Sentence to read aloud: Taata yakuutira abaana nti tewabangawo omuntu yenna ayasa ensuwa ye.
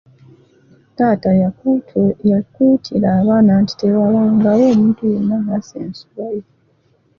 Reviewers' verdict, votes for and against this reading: accepted, 2, 0